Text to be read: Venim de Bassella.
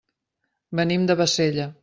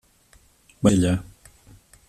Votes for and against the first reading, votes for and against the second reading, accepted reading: 3, 0, 0, 2, first